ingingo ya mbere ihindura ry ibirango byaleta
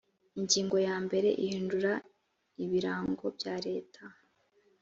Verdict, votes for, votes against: rejected, 1, 2